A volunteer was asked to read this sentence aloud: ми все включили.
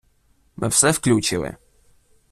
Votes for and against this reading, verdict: 1, 2, rejected